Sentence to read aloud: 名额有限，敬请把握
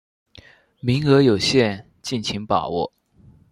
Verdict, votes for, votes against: accepted, 2, 0